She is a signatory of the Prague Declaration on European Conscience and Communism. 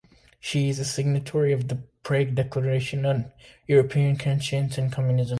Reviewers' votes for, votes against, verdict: 2, 1, accepted